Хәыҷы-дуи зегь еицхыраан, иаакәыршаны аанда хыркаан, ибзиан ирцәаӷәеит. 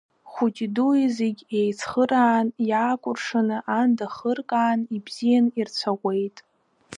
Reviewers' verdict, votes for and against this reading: accepted, 2, 0